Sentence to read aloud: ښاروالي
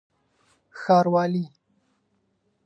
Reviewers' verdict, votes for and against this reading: accepted, 2, 0